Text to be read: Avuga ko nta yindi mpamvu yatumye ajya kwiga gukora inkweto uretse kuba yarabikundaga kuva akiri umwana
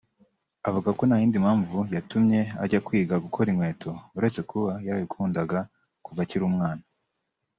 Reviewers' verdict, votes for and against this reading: rejected, 1, 2